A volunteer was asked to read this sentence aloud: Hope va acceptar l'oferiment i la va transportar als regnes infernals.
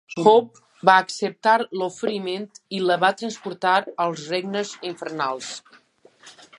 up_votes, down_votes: 2, 0